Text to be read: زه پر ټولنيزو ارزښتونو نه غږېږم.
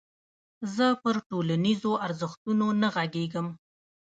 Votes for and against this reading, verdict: 1, 2, rejected